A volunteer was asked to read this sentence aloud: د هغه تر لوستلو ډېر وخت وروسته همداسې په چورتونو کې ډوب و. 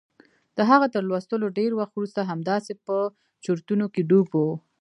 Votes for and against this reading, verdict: 2, 1, accepted